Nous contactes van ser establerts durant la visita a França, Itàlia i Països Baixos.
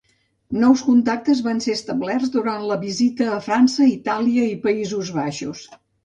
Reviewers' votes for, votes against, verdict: 2, 0, accepted